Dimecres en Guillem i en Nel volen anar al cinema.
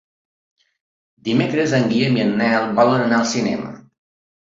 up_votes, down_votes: 2, 0